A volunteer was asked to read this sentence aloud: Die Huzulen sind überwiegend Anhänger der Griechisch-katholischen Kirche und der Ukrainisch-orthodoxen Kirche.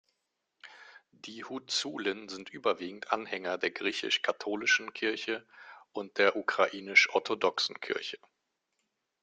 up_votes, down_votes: 2, 0